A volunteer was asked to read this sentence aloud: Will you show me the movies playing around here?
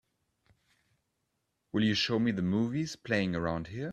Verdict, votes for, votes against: accepted, 3, 0